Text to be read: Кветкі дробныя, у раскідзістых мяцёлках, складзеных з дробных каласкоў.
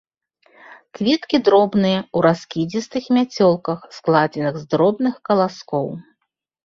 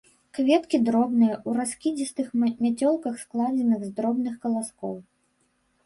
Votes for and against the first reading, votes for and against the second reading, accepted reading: 3, 0, 0, 3, first